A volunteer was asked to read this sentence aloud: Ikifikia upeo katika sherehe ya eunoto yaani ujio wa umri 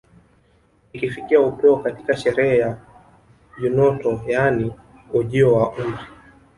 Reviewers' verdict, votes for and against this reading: accepted, 2, 1